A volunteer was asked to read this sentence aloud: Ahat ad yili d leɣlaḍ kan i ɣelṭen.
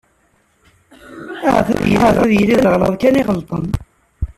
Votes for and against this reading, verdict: 0, 2, rejected